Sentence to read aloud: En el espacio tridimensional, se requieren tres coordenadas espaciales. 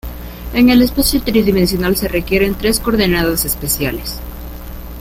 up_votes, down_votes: 0, 2